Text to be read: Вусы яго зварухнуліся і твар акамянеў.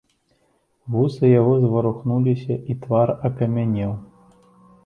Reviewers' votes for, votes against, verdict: 2, 0, accepted